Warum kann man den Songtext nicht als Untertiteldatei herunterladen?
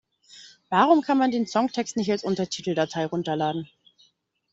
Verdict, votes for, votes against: rejected, 0, 2